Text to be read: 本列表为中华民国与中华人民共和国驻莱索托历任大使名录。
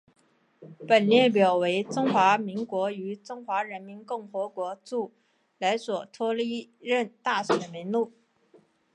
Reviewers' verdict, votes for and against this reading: accepted, 2, 0